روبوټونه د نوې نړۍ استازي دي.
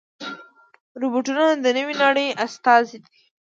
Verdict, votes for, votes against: accepted, 2, 0